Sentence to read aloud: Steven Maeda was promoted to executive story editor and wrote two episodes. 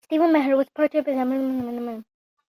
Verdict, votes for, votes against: rejected, 0, 2